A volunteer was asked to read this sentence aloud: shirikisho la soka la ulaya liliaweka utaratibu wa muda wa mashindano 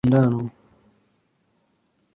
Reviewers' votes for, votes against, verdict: 0, 2, rejected